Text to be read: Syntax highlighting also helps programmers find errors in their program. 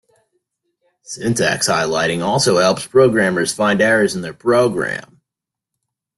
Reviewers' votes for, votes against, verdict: 2, 0, accepted